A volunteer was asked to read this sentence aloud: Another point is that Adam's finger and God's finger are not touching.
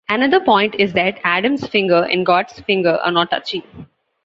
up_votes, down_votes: 2, 0